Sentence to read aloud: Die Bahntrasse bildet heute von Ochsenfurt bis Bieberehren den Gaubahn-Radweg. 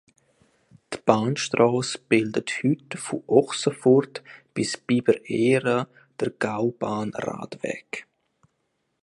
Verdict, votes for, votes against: rejected, 1, 2